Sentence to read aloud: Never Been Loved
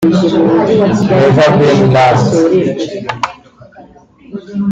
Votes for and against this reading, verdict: 0, 2, rejected